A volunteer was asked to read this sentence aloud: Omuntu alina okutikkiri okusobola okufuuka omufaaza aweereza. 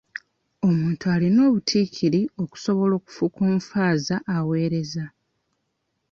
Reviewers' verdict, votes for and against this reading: rejected, 0, 2